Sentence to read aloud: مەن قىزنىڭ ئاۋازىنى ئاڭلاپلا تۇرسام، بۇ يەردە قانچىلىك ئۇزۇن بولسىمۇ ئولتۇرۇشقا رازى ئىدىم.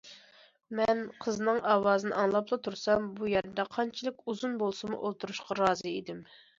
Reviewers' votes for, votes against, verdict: 2, 0, accepted